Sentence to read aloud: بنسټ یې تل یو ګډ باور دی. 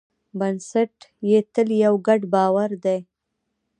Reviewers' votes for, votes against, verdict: 0, 2, rejected